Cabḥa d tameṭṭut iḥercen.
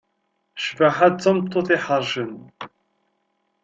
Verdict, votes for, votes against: rejected, 1, 2